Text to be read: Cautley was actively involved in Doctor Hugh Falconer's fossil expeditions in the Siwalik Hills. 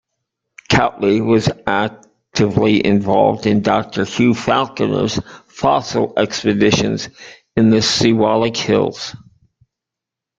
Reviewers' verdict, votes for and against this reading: rejected, 1, 2